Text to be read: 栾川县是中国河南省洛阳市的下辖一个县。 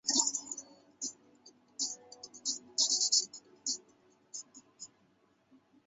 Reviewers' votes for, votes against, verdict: 0, 2, rejected